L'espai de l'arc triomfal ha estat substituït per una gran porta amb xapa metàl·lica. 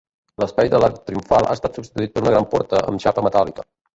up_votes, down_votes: 0, 2